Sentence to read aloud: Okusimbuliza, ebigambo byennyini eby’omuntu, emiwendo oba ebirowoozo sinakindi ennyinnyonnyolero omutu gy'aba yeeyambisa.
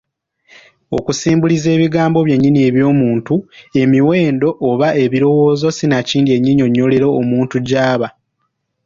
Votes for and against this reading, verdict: 1, 3, rejected